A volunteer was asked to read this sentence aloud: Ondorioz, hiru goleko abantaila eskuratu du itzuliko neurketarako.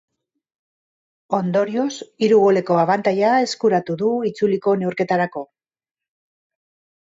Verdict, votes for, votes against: accepted, 2, 0